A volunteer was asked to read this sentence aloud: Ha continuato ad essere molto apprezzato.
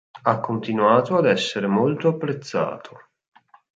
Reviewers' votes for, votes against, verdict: 2, 0, accepted